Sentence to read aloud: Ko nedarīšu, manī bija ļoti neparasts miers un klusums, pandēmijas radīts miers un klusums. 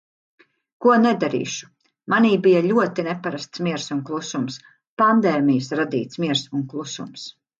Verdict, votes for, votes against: accepted, 2, 0